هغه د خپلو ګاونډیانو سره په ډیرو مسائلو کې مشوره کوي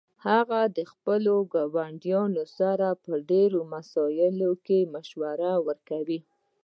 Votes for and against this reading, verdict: 1, 2, rejected